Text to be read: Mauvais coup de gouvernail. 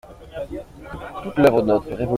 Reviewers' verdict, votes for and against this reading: rejected, 0, 2